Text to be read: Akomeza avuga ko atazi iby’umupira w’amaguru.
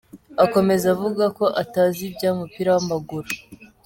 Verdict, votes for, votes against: accepted, 2, 0